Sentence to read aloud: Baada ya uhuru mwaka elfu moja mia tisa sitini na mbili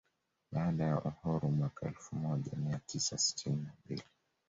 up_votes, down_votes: 2, 1